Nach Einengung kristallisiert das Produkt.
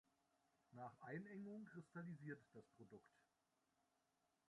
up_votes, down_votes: 1, 2